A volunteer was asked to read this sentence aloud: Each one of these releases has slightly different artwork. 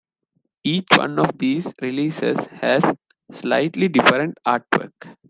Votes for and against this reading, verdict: 2, 0, accepted